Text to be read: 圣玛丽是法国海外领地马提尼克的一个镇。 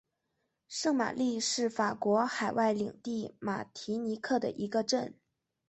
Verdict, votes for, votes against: accepted, 2, 0